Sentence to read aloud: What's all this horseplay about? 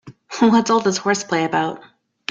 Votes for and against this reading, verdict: 2, 0, accepted